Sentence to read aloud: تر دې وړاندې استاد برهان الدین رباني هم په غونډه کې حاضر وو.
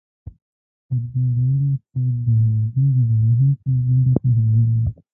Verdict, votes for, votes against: rejected, 1, 2